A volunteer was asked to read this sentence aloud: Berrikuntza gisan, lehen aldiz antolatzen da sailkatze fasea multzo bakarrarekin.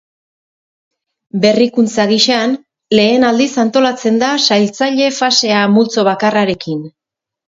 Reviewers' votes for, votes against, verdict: 0, 4, rejected